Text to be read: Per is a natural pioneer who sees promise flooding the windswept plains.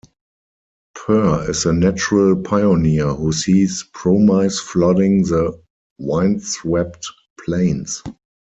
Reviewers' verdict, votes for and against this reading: rejected, 0, 4